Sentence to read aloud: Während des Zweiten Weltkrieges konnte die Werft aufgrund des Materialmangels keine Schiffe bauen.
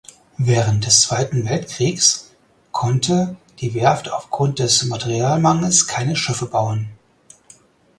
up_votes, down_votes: 2, 4